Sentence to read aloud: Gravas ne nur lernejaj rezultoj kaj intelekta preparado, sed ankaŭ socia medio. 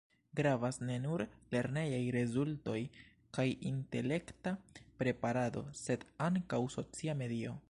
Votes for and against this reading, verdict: 2, 0, accepted